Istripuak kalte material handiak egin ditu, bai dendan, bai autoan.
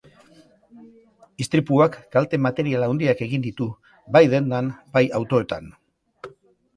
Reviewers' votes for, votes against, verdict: 0, 2, rejected